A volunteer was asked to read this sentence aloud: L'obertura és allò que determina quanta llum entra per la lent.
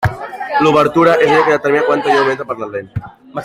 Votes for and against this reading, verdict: 2, 1, accepted